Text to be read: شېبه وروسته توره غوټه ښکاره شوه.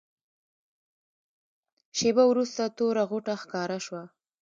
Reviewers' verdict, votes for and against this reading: rejected, 1, 2